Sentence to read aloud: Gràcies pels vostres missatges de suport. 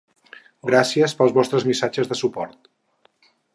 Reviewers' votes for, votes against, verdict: 8, 0, accepted